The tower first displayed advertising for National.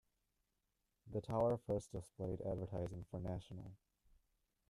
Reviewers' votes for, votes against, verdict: 1, 2, rejected